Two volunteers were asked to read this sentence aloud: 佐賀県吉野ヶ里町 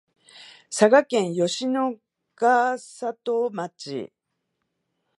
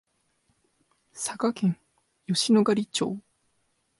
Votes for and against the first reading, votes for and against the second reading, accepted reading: 0, 2, 2, 0, second